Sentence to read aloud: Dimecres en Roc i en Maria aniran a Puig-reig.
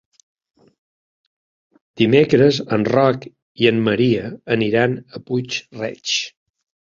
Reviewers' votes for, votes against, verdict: 2, 0, accepted